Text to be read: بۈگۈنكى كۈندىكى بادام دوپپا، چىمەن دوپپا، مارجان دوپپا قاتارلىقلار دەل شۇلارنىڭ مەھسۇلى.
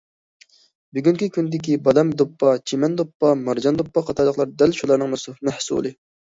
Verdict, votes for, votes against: rejected, 0, 2